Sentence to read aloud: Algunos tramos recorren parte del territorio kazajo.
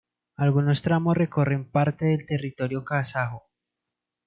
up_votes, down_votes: 2, 0